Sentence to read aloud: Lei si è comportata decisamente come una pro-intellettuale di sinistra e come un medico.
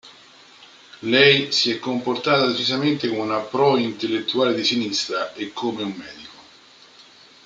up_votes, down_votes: 1, 2